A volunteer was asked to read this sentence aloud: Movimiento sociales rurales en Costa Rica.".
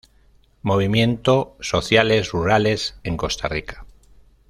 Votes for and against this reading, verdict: 2, 0, accepted